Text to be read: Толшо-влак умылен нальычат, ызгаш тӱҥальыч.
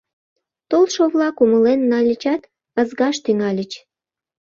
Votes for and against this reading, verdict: 2, 0, accepted